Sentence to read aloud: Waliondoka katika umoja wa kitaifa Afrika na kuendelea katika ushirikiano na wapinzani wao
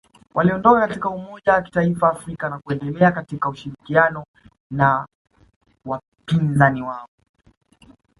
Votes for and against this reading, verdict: 0, 2, rejected